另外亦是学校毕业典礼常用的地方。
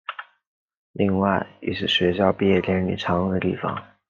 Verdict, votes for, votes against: accepted, 2, 0